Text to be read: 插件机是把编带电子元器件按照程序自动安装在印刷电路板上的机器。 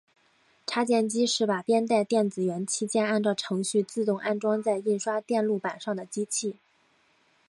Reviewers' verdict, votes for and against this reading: accepted, 4, 1